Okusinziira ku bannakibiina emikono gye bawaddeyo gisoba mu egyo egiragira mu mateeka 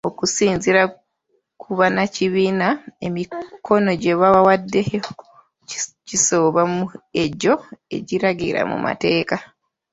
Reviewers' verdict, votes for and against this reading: rejected, 0, 2